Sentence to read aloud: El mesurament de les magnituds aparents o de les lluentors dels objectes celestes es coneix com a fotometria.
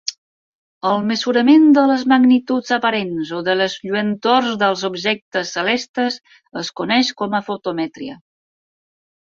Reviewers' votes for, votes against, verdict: 4, 2, accepted